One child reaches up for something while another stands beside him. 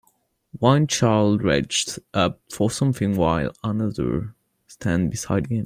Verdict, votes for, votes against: rejected, 2, 3